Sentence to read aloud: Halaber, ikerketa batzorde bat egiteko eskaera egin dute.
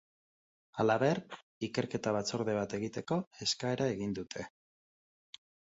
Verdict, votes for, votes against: accepted, 5, 0